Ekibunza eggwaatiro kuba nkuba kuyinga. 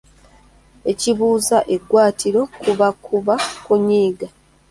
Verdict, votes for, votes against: rejected, 1, 2